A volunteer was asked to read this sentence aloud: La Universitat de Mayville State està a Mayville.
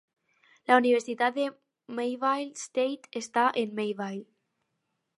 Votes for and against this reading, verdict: 0, 4, rejected